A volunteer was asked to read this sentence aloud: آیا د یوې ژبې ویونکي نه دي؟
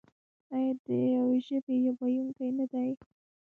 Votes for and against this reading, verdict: 2, 1, accepted